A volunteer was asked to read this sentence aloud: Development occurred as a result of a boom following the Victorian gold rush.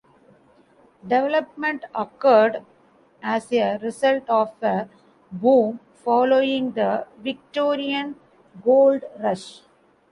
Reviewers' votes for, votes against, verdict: 1, 2, rejected